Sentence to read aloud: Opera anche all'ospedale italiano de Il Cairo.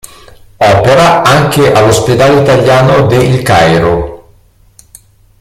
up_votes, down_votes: 0, 2